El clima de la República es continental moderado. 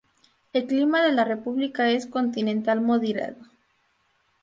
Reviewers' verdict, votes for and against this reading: rejected, 0, 2